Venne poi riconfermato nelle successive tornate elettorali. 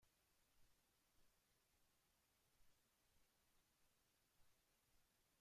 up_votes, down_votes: 0, 2